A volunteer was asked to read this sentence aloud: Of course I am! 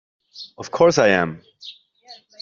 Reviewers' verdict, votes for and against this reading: accepted, 2, 0